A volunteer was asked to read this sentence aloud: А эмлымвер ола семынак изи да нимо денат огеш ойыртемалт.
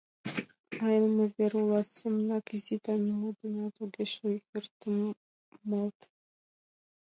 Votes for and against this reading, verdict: 1, 2, rejected